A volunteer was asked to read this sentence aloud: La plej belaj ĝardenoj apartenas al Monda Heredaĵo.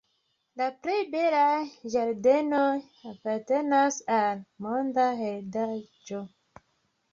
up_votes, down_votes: 2, 0